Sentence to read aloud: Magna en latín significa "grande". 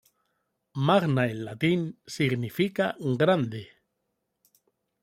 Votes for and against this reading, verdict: 2, 1, accepted